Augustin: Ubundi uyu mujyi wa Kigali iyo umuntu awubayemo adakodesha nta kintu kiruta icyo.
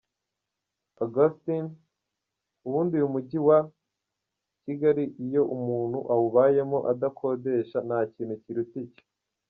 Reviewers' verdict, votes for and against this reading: accepted, 2, 1